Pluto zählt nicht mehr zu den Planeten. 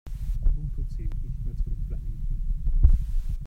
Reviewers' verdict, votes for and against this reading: rejected, 0, 2